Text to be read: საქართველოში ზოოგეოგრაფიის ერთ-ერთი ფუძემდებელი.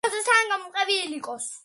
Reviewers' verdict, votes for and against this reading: rejected, 0, 2